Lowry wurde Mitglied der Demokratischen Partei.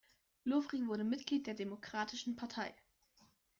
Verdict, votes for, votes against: rejected, 1, 2